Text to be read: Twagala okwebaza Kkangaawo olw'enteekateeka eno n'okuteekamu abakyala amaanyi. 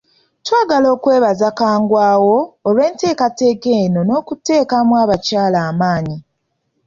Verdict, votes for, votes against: rejected, 0, 2